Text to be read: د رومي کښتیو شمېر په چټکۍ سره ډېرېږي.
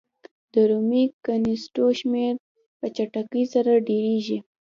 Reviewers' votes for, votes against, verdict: 2, 0, accepted